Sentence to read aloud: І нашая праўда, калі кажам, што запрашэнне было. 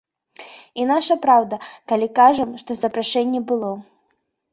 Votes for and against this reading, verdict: 2, 1, accepted